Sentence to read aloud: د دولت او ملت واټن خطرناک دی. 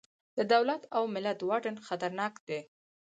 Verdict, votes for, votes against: rejected, 0, 4